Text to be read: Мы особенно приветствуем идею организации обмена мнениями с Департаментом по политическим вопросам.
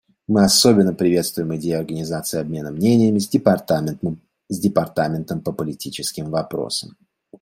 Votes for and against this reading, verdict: 0, 2, rejected